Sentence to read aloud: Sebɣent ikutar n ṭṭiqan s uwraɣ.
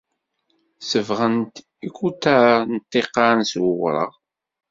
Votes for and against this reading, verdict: 2, 0, accepted